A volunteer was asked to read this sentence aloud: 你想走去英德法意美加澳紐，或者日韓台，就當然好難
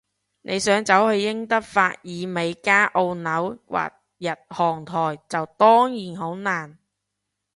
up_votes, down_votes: 0, 2